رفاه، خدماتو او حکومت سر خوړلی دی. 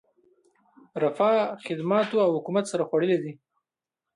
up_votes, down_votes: 2, 0